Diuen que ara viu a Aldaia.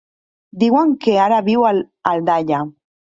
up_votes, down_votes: 2, 0